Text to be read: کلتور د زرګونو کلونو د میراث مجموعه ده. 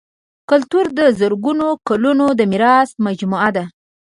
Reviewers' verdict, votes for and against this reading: accepted, 2, 0